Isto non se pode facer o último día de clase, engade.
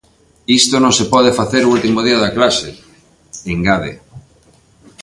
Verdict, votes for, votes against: rejected, 1, 2